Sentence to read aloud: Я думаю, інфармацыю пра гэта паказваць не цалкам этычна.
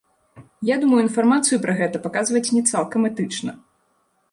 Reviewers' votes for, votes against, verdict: 2, 0, accepted